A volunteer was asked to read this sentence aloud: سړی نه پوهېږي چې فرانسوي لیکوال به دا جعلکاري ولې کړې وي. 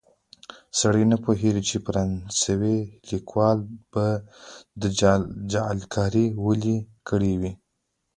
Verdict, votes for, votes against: accepted, 2, 0